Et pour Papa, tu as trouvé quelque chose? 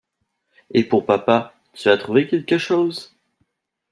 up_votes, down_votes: 2, 0